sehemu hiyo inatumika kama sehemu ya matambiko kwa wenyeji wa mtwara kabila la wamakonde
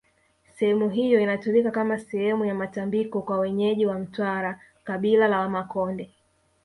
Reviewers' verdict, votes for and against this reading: accepted, 2, 0